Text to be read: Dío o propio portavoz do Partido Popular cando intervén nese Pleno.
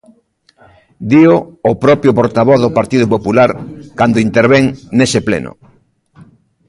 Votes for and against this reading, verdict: 0, 2, rejected